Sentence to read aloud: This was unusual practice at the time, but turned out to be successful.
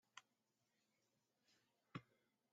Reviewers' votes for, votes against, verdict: 0, 2, rejected